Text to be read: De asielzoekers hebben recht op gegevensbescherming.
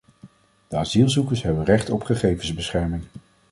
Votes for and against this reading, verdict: 2, 0, accepted